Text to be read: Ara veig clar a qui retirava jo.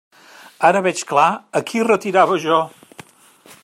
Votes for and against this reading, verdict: 3, 0, accepted